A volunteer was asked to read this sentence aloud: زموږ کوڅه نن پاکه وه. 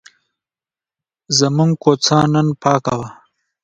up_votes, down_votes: 1, 2